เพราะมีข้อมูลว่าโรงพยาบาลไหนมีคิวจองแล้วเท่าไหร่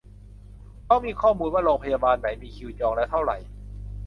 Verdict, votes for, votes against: accepted, 2, 0